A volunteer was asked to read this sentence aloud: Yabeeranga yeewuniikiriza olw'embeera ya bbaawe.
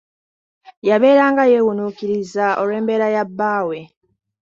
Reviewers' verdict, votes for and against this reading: rejected, 1, 2